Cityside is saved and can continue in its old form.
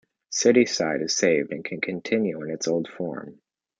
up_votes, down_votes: 2, 0